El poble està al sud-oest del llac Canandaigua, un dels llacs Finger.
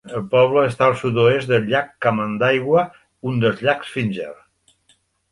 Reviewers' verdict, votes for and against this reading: rejected, 1, 2